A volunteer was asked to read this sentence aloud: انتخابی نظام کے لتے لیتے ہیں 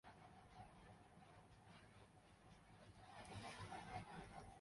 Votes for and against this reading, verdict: 0, 2, rejected